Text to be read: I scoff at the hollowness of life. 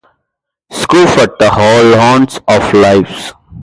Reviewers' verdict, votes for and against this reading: rejected, 0, 2